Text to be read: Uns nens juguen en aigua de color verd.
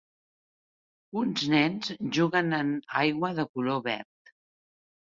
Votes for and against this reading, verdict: 2, 1, accepted